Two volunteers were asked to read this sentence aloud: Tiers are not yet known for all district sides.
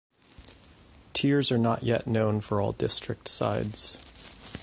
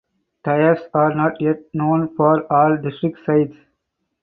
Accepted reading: first